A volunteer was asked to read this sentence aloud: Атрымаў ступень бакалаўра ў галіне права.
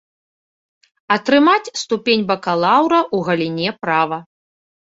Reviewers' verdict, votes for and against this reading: rejected, 1, 2